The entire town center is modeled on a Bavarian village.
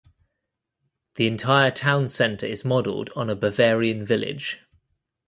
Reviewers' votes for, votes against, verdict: 2, 0, accepted